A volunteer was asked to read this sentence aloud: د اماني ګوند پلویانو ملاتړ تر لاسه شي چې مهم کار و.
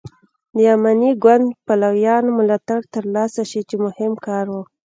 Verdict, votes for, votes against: accepted, 2, 0